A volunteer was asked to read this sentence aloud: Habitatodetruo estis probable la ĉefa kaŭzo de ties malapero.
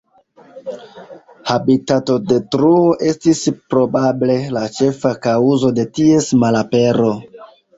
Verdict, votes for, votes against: accepted, 2, 0